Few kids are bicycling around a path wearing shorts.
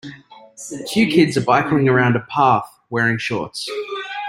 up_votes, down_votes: 1, 2